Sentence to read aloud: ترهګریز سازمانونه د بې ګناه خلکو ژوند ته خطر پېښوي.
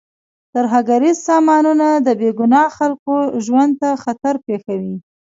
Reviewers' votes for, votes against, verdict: 1, 2, rejected